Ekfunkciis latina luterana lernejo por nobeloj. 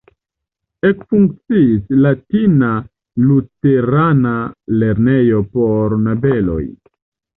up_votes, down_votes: 1, 2